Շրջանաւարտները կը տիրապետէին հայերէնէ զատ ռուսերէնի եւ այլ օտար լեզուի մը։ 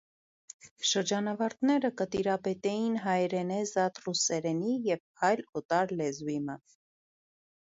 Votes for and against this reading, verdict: 1, 2, rejected